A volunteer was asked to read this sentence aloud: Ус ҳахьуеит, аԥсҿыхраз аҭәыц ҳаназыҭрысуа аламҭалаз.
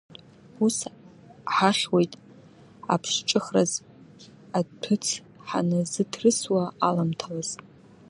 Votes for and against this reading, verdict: 2, 1, accepted